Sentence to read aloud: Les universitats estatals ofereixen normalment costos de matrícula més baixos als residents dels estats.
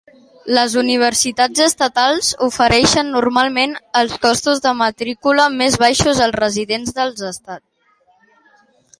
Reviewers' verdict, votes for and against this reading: rejected, 0, 2